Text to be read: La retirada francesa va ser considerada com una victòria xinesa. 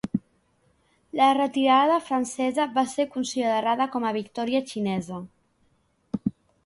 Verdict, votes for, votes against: rejected, 0, 2